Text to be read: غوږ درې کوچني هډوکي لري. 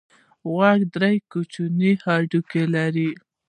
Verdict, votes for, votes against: accepted, 2, 0